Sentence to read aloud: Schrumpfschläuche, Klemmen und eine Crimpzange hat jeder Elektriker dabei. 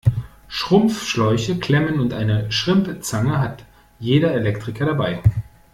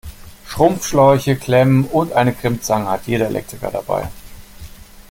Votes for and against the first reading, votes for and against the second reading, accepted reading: 1, 2, 2, 0, second